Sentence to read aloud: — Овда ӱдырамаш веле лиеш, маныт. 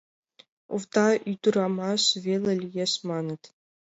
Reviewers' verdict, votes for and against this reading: accepted, 2, 0